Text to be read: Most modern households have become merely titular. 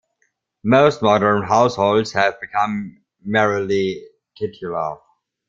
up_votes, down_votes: 1, 2